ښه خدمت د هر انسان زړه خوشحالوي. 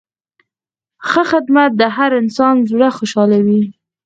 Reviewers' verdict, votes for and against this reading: rejected, 2, 4